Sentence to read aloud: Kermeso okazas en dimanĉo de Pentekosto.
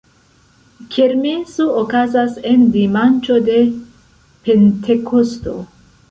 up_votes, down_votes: 0, 2